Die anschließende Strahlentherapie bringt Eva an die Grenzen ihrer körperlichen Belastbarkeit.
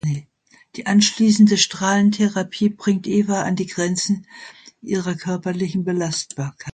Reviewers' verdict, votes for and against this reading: rejected, 0, 2